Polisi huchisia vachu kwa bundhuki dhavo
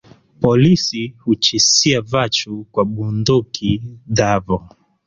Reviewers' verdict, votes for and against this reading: accepted, 6, 0